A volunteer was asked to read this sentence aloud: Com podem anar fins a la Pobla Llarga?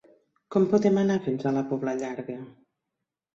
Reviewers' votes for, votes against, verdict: 3, 0, accepted